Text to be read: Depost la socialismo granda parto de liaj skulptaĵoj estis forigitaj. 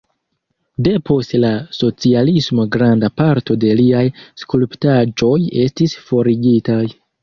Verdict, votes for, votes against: rejected, 1, 2